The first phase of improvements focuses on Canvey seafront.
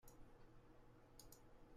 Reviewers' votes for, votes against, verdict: 0, 2, rejected